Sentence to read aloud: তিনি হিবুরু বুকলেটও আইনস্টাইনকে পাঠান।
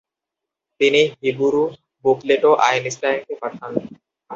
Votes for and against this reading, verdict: 2, 0, accepted